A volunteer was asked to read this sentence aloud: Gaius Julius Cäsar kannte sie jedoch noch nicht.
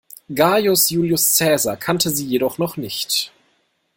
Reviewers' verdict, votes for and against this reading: accepted, 2, 0